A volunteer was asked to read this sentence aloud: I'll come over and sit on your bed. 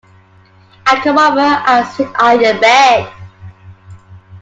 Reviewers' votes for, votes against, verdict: 1, 2, rejected